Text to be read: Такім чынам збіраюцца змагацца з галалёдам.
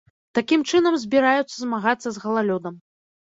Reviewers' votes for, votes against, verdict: 2, 0, accepted